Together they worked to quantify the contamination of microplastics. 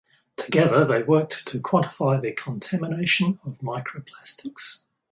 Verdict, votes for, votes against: accepted, 4, 2